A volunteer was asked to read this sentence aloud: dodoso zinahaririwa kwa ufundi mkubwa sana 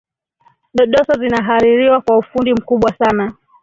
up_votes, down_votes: 2, 1